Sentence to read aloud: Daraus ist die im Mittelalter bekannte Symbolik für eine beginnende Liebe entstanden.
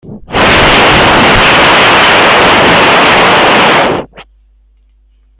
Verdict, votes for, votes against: rejected, 0, 2